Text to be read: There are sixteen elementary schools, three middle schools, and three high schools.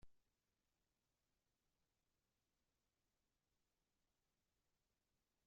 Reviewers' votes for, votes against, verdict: 0, 2, rejected